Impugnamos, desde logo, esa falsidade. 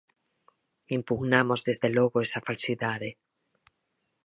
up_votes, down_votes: 4, 0